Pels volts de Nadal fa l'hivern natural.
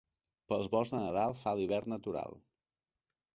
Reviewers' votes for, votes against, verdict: 2, 1, accepted